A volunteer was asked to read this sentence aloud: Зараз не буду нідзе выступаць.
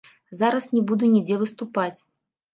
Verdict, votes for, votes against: rejected, 0, 2